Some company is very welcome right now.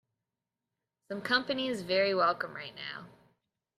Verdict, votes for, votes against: rejected, 1, 2